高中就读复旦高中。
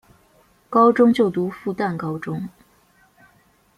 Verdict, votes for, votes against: accepted, 2, 0